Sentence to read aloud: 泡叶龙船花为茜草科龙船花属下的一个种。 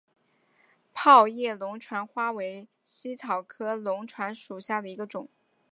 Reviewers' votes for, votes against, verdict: 5, 1, accepted